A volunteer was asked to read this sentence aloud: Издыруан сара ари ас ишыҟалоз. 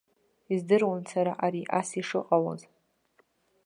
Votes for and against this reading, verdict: 2, 0, accepted